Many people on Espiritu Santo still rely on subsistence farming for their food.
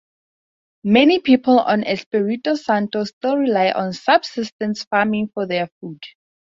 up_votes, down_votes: 2, 0